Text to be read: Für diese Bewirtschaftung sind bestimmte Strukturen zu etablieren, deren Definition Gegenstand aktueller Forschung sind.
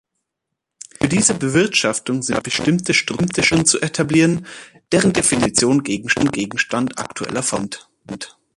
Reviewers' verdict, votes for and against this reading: rejected, 0, 3